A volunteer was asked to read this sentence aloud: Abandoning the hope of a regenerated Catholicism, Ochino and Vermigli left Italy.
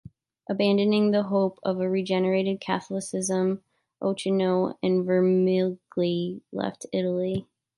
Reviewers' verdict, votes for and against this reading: rejected, 1, 2